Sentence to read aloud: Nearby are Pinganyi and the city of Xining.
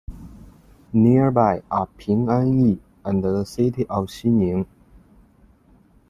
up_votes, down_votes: 2, 0